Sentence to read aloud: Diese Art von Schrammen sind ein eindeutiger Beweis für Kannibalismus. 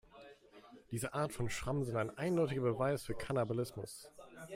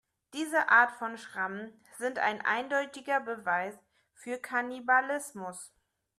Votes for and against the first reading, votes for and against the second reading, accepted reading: 0, 2, 2, 0, second